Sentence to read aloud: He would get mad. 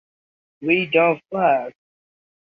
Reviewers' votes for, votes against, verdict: 0, 2, rejected